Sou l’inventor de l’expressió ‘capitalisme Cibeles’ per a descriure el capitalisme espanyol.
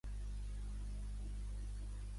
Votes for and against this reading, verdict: 0, 2, rejected